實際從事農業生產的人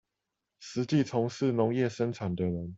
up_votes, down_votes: 4, 0